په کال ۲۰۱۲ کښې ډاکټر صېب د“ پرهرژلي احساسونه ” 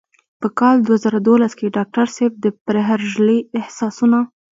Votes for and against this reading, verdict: 0, 2, rejected